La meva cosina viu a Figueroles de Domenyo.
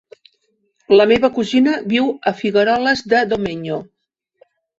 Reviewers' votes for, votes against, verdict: 3, 1, accepted